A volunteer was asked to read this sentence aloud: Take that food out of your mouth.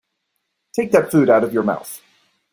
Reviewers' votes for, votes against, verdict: 2, 0, accepted